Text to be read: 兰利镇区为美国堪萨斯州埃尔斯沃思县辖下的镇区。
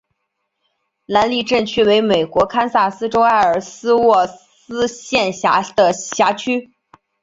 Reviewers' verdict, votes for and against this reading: accepted, 2, 1